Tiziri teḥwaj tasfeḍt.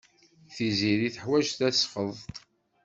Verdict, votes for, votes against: accepted, 2, 0